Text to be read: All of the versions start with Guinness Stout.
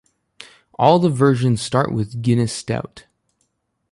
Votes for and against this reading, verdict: 0, 2, rejected